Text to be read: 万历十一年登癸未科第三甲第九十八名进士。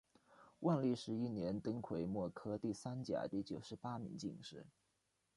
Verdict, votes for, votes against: accepted, 2, 1